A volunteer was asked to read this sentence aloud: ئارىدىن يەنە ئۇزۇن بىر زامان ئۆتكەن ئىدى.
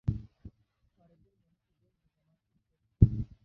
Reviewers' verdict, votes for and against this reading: rejected, 0, 2